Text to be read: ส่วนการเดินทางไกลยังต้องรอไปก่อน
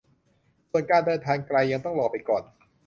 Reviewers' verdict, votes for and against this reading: accepted, 2, 0